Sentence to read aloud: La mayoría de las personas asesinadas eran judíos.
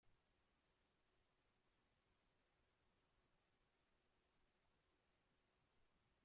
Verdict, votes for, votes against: rejected, 0, 2